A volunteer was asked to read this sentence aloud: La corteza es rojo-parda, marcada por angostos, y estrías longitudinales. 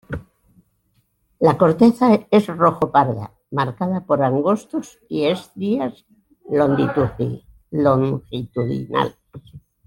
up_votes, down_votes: 1, 2